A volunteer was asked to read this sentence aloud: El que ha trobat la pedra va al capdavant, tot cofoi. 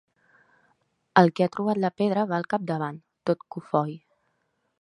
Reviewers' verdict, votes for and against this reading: accepted, 3, 0